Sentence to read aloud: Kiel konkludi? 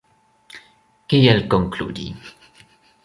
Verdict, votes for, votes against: accepted, 2, 0